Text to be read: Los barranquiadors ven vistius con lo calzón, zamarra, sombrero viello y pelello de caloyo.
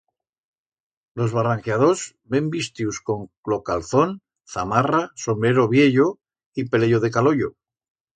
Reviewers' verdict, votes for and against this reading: rejected, 1, 2